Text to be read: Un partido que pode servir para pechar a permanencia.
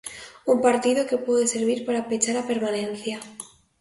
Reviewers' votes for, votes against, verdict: 2, 0, accepted